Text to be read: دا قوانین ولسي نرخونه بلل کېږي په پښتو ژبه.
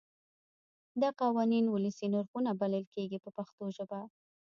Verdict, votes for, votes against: rejected, 1, 2